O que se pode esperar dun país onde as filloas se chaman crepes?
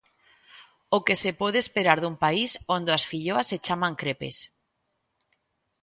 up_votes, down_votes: 2, 0